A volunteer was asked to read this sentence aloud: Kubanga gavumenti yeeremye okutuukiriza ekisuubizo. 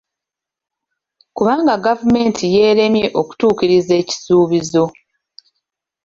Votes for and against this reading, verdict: 2, 0, accepted